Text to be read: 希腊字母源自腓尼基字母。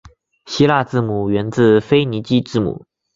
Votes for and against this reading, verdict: 2, 0, accepted